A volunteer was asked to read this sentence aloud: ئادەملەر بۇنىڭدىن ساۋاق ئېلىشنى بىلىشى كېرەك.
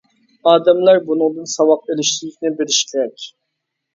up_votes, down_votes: 0, 2